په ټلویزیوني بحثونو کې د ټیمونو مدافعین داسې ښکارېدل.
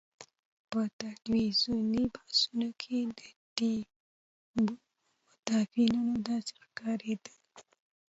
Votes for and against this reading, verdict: 2, 0, accepted